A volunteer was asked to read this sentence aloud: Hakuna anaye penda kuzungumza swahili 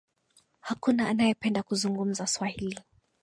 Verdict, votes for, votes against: accepted, 2, 0